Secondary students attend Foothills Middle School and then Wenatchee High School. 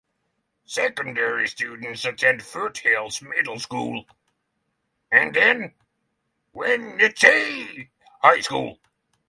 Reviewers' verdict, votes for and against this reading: accepted, 6, 3